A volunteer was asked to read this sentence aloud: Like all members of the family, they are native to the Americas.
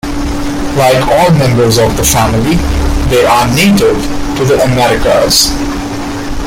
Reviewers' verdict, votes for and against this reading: accepted, 2, 0